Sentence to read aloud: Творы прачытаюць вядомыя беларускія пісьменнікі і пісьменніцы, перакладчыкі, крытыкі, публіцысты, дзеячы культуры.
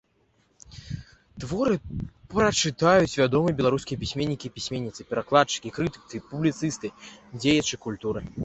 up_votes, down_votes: 2, 1